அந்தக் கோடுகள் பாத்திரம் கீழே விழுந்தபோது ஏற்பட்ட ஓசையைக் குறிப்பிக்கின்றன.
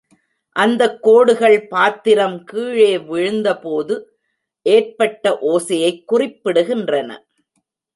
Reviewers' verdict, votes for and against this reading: rejected, 1, 2